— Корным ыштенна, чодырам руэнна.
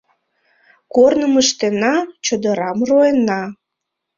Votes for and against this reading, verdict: 0, 2, rejected